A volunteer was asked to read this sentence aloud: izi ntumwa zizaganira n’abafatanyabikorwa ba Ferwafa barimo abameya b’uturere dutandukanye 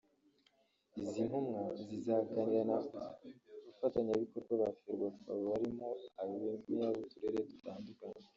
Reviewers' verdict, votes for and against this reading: rejected, 0, 2